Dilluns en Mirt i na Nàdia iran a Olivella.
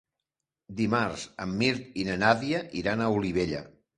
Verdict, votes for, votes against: rejected, 1, 2